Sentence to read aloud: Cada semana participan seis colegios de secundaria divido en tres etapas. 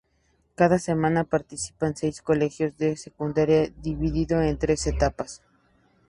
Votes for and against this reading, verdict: 6, 2, accepted